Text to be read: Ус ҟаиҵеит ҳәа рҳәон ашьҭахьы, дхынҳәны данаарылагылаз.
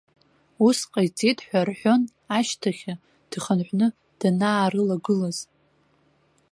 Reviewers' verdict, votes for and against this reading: rejected, 0, 2